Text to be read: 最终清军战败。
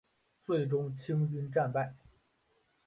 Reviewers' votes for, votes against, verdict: 3, 0, accepted